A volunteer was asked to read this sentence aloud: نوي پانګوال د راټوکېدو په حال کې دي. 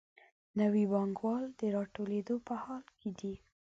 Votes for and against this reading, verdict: 1, 2, rejected